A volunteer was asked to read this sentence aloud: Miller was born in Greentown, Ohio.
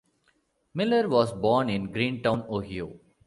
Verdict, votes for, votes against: accepted, 3, 2